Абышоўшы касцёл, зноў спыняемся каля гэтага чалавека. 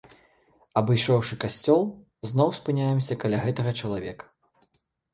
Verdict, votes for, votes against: accepted, 2, 0